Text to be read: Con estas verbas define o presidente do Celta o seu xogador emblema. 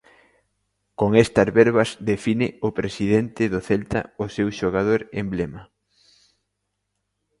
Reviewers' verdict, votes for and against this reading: accepted, 3, 0